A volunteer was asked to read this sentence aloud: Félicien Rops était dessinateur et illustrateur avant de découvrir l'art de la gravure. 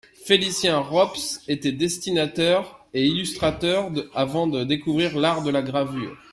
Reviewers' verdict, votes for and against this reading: rejected, 1, 2